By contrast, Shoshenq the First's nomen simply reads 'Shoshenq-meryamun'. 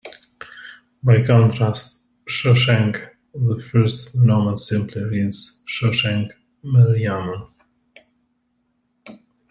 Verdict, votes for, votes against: rejected, 1, 2